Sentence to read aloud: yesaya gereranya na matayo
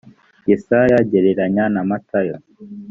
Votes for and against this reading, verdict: 2, 0, accepted